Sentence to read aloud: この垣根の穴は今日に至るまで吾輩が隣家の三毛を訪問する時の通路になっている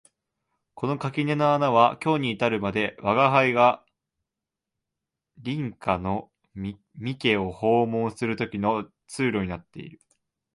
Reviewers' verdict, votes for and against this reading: accepted, 2, 0